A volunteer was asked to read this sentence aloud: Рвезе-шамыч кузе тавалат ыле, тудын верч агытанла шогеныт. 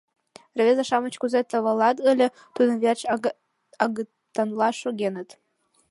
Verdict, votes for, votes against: rejected, 0, 2